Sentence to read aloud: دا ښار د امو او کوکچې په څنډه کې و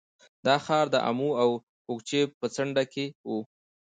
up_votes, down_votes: 2, 0